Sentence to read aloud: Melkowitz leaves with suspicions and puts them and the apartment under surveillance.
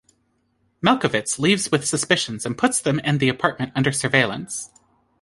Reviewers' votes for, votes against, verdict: 2, 0, accepted